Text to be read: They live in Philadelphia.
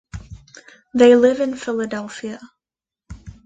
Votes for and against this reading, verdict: 2, 0, accepted